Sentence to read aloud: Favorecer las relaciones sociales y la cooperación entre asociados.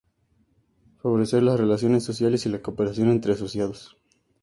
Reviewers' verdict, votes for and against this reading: accepted, 2, 0